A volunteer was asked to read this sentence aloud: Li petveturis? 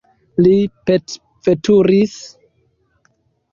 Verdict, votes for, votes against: rejected, 1, 2